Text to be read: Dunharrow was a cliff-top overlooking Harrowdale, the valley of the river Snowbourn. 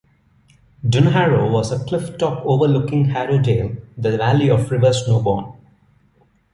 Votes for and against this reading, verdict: 2, 0, accepted